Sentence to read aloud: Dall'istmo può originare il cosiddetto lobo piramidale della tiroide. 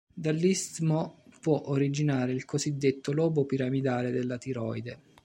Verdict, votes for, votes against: accepted, 2, 0